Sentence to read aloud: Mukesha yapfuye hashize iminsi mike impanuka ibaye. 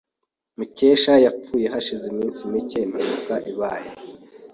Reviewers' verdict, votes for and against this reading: accepted, 2, 0